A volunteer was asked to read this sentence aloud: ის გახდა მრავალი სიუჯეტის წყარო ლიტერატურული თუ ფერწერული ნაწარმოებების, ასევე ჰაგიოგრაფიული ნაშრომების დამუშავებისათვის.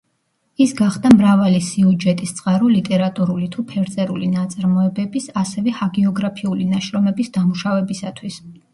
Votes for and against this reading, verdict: 2, 0, accepted